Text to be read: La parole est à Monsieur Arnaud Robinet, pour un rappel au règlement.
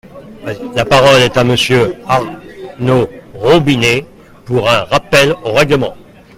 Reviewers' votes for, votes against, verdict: 2, 0, accepted